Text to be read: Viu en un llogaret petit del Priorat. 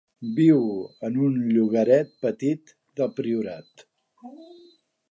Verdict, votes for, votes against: accepted, 2, 0